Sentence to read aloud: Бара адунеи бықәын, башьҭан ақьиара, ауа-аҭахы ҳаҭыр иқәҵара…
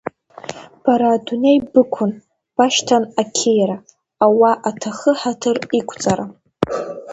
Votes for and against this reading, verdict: 2, 0, accepted